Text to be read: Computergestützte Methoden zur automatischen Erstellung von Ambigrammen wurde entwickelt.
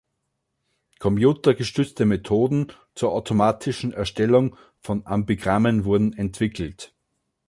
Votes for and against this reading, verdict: 1, 2, rejected